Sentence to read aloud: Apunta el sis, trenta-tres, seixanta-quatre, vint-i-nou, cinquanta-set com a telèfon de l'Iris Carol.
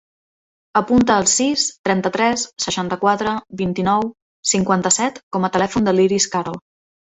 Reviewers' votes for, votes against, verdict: 2, 0, accepted